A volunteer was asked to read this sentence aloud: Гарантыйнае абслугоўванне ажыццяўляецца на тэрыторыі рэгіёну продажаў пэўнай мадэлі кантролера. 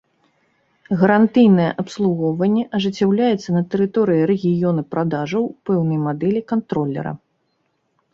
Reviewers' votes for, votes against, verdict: 2, 1, accepted